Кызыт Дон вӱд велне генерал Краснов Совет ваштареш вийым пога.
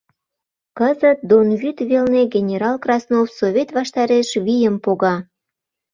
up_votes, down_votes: 2, 0